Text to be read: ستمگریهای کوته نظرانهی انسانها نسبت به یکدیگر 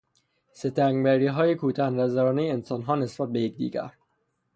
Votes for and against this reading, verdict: 3, 0, accepted